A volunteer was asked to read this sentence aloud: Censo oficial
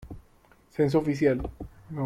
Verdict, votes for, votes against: rejected, 1, 2